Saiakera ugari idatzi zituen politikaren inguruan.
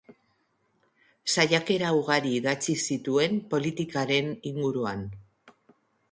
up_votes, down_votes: 3, 0